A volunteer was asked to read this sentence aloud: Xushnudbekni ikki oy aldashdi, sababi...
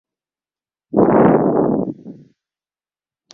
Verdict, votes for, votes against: rejected, 0, 2